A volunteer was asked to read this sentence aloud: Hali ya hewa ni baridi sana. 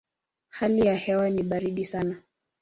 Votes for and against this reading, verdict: 2, 0, accepted